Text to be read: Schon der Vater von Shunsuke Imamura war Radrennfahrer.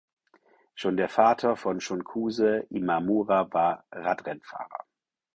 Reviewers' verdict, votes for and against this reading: rejected, 0, 4